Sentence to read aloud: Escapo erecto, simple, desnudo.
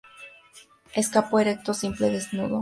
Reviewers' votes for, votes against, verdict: 2, 0, accepted